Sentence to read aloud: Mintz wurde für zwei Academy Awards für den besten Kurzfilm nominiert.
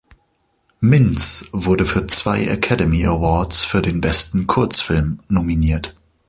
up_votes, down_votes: 2, 0